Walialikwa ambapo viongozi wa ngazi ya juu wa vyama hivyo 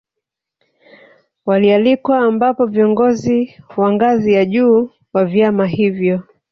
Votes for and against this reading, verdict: 0, 2, rejected